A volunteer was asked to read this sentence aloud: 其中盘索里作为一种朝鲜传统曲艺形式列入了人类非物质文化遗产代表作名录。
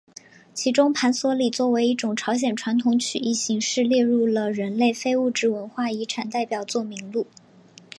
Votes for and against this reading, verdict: 2, 0, accepted